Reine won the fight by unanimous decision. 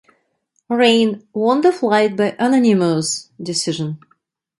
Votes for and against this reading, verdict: 0, 2, rejected